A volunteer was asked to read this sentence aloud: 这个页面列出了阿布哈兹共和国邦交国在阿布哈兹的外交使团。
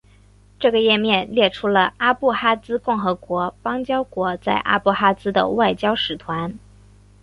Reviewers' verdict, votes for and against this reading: accepted, 2, 1